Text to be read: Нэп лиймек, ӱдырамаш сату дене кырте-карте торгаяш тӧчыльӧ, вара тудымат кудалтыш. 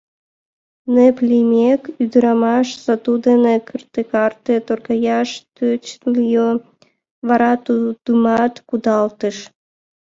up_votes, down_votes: 1, 3